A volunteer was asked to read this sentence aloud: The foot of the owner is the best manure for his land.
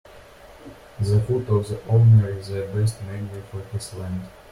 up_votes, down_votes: 0, 2